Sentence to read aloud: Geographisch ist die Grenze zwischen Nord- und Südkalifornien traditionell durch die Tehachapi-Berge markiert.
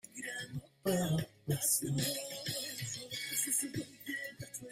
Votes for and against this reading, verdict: 0, 2, rejected